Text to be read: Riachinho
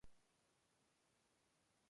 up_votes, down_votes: 0, 2